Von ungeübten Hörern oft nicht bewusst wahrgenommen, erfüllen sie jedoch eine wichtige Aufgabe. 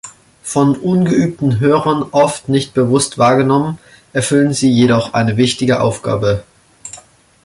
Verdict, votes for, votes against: accepted, 2, 0